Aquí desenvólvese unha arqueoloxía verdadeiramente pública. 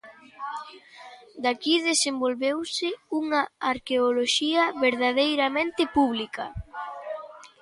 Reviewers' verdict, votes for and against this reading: rejected, 0, 2